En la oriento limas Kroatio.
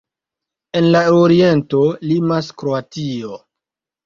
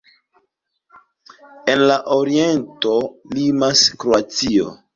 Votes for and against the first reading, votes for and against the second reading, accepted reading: 0, 2, 2, 0, second